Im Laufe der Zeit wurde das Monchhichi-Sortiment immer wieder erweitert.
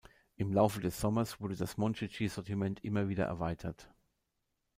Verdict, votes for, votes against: rejected, 1, 2